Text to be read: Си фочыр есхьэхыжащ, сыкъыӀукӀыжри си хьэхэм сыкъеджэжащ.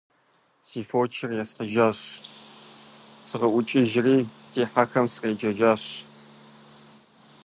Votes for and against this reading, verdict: 0, 2, rejected